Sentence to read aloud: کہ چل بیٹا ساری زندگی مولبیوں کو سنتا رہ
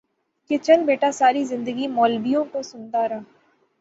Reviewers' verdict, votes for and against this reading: accepted, 6, 3